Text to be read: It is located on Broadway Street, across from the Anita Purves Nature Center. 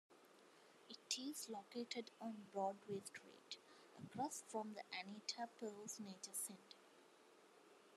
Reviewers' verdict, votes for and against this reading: accepted, 2, 0